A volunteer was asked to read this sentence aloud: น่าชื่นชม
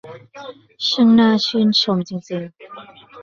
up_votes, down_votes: 0, 2